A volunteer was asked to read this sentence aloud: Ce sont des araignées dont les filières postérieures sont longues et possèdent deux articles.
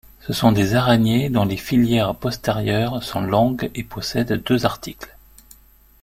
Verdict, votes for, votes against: accepted, 2, 0